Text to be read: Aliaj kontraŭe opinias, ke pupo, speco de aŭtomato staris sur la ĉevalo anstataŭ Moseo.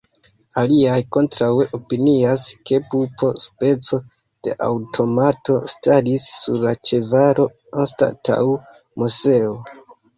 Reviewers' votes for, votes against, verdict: 2, 0, accepted